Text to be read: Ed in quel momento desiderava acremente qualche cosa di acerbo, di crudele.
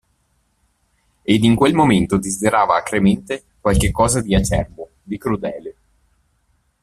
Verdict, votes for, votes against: rejected, 1, 2